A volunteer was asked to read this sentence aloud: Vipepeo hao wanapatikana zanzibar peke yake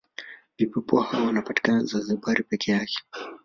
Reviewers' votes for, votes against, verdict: 1, 2, rejected